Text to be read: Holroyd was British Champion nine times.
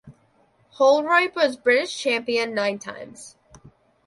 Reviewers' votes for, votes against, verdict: 2, 1, accepted